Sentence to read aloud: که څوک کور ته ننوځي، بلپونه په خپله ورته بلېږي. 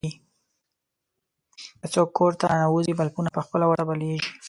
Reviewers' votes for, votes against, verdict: 0, 2, rejected